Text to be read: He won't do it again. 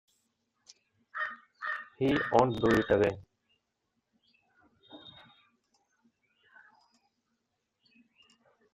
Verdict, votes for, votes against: rejected, 1, 2